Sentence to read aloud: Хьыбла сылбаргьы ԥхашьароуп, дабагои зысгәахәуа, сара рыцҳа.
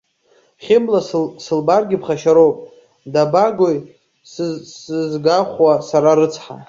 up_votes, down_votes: 0, 2